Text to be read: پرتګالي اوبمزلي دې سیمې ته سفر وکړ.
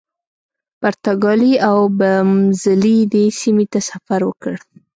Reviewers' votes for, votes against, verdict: 1, 2, rejected